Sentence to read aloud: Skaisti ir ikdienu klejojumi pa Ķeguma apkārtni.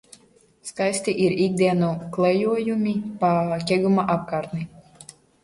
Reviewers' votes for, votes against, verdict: 2, 0, accepted